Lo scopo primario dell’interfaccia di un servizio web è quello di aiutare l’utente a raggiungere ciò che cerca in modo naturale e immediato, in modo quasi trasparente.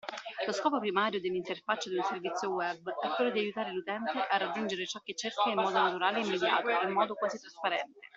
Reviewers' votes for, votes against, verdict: 2, 1, accepted